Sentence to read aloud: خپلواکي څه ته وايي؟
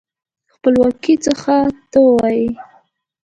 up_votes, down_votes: 1, 2